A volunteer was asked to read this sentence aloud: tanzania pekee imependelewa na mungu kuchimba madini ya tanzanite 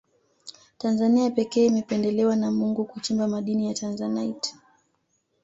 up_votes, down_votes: 2, 0